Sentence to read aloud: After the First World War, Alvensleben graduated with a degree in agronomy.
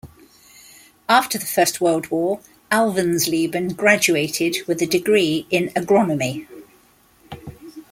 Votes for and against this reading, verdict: 2, 0, accepted